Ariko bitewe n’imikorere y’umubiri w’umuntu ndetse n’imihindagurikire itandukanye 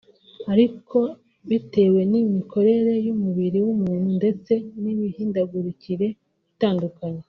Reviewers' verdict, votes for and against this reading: accepted, 3, 1